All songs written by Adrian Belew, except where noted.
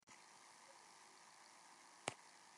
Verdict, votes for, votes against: rejected, 0, 2